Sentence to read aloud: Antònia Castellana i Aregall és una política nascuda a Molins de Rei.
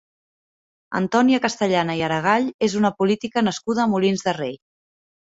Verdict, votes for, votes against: accepted, 2, 0